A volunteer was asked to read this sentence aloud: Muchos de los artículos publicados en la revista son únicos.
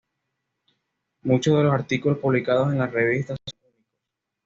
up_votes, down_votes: 0, 2